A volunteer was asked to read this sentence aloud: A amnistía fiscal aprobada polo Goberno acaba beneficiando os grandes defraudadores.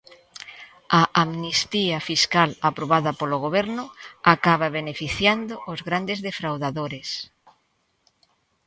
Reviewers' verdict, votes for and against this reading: accepted, 2, 0